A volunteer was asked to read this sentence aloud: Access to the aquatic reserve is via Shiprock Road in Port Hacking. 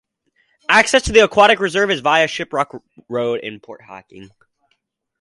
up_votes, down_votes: 4, 0